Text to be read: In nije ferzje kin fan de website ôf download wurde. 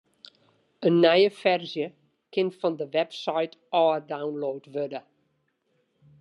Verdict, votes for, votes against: accepted, 2, 0